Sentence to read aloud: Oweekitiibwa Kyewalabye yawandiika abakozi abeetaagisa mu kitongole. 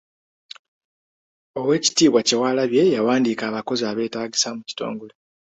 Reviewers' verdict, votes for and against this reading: accepted, 3, 0